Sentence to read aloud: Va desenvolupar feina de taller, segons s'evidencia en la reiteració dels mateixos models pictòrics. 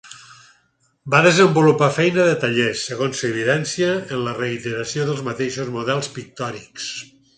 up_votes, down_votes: 4, 0